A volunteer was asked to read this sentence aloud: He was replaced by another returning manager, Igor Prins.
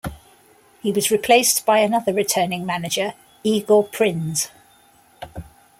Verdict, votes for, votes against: rejected, 1, 2